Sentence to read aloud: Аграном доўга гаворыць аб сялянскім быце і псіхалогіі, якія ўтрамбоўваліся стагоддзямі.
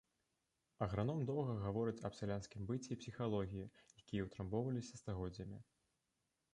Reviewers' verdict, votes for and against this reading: accepted, 3, 1